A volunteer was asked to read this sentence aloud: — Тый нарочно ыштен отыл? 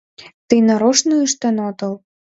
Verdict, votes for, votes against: accepted, 2, 0